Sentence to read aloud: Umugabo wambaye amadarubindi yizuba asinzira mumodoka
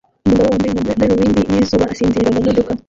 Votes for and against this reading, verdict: 0, 2, rejected